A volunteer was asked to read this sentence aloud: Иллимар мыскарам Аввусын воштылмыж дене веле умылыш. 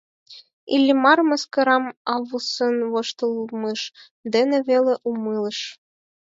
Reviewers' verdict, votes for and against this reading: accepted, 4, 0